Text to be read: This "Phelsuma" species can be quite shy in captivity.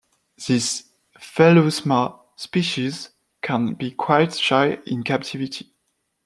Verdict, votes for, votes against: rejected, 1, 2